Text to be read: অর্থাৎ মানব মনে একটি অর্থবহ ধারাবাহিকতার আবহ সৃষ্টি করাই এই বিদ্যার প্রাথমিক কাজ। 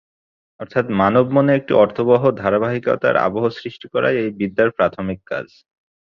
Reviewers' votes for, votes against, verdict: 2, 1, accepted